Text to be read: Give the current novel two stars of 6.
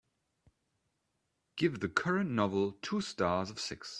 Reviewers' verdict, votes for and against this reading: rejected, 0, 2